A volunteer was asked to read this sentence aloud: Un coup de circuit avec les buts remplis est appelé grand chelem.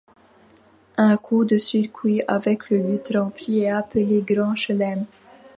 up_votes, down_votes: 2, 0